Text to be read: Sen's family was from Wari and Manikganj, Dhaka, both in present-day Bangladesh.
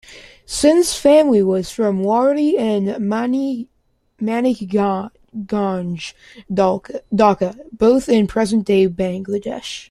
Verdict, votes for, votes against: rejected, 0, 2